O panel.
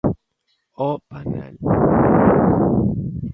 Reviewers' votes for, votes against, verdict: 1, 2, rejected